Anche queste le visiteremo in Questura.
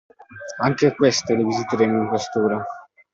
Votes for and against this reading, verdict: 2, 1, accepted